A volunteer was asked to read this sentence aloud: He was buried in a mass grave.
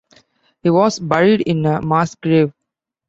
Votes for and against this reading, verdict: 2, 0, accepted